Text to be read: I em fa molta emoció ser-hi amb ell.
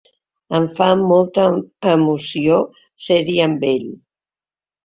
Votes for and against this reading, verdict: 0, 2, rejected